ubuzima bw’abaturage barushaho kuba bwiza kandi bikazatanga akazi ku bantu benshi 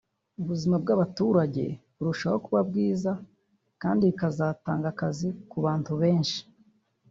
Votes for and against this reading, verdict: 1, 2, rejected